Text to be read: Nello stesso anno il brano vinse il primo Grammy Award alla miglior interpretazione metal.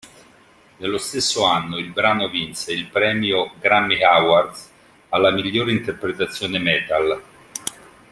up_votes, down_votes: 1, 2